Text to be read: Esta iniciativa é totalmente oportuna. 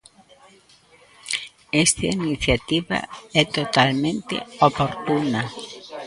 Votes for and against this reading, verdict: 0, 3, rejected